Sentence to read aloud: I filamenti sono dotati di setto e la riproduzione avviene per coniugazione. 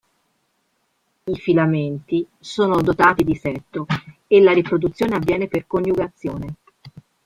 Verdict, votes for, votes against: accepted, 4, 2